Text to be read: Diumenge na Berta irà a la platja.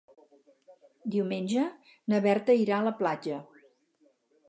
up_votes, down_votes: 4, 0